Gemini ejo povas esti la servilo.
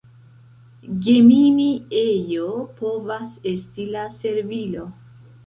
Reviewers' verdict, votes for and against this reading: accepted, 2, 0